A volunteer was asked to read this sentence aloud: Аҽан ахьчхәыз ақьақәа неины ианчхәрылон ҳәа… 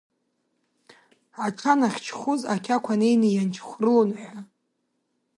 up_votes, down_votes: 0, 2